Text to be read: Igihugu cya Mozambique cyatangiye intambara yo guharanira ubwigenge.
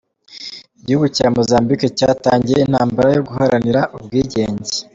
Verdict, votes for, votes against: accepted, 2, 0